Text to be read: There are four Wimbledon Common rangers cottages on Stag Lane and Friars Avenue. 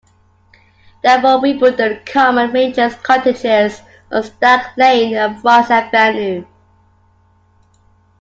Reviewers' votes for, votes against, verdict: 0, 2, rejected